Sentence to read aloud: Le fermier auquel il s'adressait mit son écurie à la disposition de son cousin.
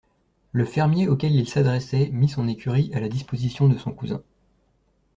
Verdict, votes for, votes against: accepted, 2, 0